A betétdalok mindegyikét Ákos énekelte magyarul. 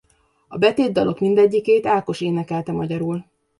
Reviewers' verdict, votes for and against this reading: accepted, 2, 0